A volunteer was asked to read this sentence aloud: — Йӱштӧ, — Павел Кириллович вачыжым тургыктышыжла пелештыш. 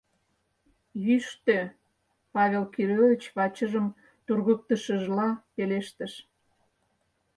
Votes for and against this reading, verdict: 4, 0, accepted